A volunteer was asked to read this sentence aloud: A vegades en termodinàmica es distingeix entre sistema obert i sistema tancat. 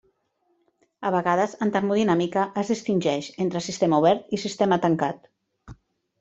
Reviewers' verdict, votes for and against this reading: accepted, 3, 0